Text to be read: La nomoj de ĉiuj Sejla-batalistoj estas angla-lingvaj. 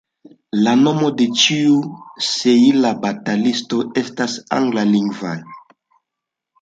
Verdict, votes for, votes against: accepted, 2, 1